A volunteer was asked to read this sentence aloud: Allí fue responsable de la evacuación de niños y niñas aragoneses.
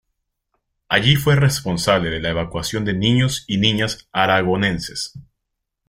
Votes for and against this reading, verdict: 1, 2, rejected